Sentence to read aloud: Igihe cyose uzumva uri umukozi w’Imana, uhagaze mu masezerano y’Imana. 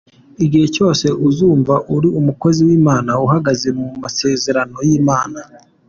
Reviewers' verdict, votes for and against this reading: accepted, 2, 0